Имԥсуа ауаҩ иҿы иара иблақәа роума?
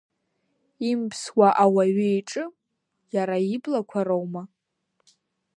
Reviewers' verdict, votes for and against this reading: accepted, 2, 1